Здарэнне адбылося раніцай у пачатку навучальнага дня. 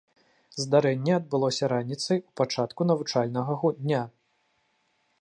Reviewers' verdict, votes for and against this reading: rejected, 0, 2